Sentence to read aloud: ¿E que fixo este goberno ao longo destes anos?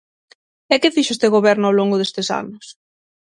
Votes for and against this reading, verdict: 6, 0, accepted